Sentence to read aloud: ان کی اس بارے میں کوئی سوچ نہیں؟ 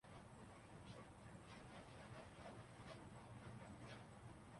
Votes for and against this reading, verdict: 0, 2, rejected